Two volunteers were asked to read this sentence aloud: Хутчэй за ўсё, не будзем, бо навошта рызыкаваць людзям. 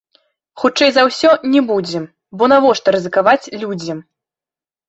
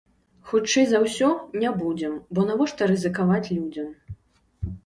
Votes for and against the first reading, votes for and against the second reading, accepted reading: 1, 3, 2, 0, second